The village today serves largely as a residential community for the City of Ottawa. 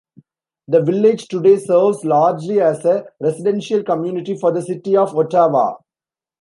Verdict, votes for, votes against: rejected, 0, 2